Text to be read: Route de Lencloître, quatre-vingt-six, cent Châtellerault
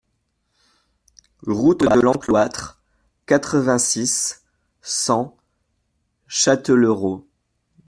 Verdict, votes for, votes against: rejected, 1, 2